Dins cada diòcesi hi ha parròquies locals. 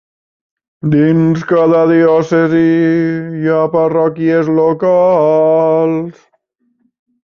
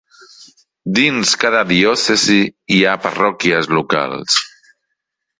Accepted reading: second